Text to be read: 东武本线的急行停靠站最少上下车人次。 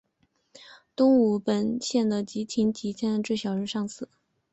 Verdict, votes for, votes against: accepted, 3, 0